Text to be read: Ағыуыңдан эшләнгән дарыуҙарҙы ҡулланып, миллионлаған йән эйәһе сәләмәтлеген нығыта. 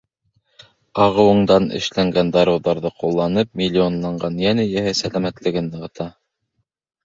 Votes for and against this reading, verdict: 1, 2, rejected